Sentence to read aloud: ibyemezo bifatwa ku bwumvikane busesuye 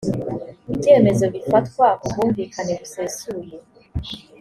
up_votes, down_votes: 2, 0